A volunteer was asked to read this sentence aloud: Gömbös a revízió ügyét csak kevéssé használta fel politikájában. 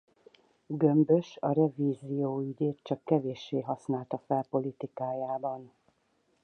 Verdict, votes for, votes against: rejected, 2, 2